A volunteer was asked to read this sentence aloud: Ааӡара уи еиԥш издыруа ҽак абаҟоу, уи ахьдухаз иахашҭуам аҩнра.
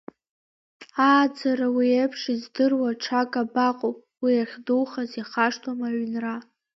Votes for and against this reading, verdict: 1, 2, rejected